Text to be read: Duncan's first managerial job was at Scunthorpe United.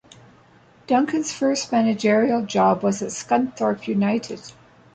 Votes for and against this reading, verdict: 1, 2, rejected